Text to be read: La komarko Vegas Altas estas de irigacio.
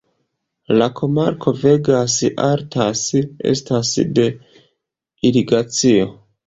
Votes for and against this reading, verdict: 2, 0, accepted